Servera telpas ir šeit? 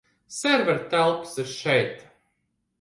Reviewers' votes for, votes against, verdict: 0, 2, rejected